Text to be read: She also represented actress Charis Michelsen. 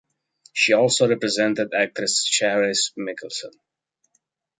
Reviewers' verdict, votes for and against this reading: accepted, 2, 0